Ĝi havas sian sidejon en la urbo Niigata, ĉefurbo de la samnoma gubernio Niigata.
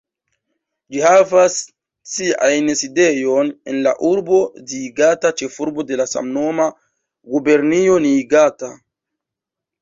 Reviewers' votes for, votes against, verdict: 0, 2, rejected